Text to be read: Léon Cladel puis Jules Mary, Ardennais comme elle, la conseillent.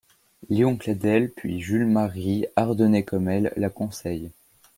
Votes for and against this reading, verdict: 2, 0, accepted